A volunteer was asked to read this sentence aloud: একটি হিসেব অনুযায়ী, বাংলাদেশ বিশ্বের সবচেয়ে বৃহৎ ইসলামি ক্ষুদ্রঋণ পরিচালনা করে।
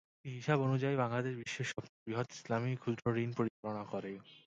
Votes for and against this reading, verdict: 0, 2, rejected